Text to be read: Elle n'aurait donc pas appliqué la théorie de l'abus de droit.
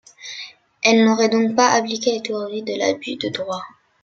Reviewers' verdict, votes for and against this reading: accepted, 2, 1